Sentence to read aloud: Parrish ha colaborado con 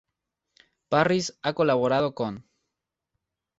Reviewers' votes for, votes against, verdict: 2, 0, accepted